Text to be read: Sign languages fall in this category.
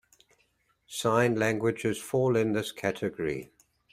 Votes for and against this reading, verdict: 2, 0, accepted